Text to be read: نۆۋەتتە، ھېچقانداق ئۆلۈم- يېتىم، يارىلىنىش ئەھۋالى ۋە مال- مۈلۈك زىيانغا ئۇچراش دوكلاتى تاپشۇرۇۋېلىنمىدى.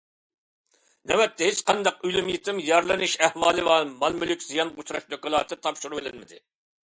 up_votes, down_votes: 1, 2